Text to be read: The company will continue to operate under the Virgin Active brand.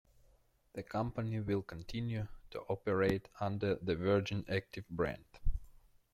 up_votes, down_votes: 1, 2